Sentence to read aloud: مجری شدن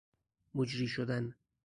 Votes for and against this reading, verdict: 4, 0, accepted